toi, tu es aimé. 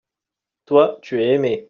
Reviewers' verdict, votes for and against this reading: accepted, 2, 0